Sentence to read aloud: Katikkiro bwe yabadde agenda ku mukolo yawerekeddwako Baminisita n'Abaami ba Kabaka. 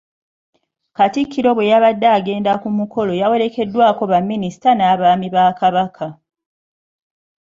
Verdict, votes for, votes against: accepted, 2, 0